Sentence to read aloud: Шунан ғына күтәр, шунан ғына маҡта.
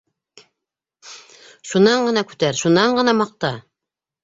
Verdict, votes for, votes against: accepted, 2, 0